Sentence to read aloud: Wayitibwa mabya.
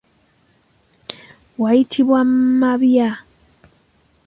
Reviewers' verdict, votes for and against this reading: accepted, 2, 1